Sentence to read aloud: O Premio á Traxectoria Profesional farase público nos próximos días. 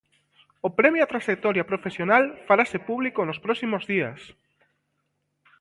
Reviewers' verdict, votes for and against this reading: accepted, 2, 0